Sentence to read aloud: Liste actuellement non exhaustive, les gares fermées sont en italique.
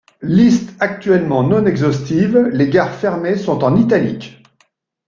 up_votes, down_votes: 3, 0